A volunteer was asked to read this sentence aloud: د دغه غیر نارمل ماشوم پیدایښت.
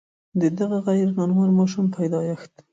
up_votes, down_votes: 1, 2